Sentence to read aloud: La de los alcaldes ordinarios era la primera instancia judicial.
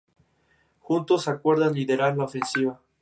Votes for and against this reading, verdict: 0, 4, rejected